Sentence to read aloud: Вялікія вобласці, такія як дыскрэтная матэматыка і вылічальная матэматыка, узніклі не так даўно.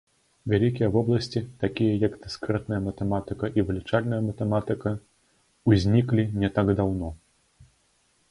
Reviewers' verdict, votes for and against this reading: rejected, 0, 3